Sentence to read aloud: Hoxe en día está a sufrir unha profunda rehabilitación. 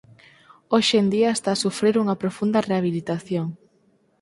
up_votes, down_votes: 4, 2